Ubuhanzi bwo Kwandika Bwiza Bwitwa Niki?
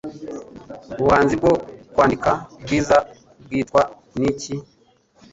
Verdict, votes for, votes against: accepted, 2, 1